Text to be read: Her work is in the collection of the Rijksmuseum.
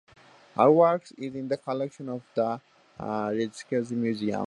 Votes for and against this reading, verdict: 0, 2, rejected